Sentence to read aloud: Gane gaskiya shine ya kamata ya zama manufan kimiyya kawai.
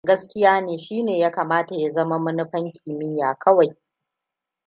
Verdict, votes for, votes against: rejected, 1, 2